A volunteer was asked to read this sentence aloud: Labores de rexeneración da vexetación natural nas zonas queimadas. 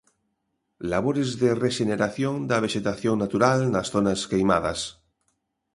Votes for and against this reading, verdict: 2, 0, accepted